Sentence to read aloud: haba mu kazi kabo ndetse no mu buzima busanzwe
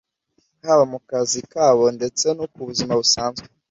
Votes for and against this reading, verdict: 1, 2, rejected